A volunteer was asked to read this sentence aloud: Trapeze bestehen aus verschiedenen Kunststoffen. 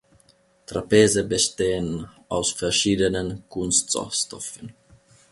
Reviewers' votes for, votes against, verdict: 0, 2, rejected